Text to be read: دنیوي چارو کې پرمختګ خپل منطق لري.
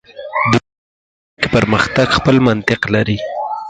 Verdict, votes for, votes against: rejected, 2, 4